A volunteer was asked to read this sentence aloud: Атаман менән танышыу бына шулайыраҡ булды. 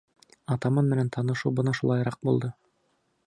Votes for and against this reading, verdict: 2, 0, accepted